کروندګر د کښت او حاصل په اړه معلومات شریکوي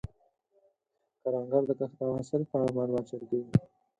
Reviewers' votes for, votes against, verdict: 6, 4, accepted